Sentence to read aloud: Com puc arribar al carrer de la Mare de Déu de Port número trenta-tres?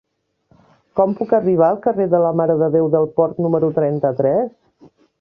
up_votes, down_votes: 1, 2